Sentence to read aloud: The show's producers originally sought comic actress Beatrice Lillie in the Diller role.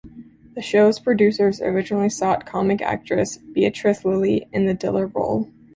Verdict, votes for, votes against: accepted, 2, 0